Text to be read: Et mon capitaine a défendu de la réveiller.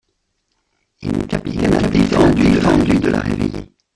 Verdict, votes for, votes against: rejected, 0, 2